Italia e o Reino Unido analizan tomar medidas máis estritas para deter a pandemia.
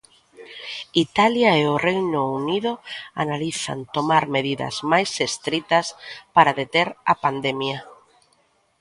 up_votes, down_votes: 2, 0